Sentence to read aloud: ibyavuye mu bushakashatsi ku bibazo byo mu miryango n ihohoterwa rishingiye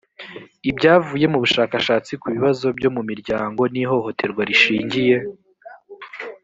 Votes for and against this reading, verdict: 2, 0, accepted